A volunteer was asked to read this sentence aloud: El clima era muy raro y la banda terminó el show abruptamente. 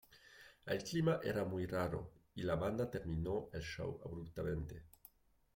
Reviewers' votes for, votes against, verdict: 1, 2, rejected